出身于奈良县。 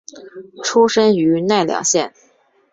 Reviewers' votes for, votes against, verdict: 2, 0, accepted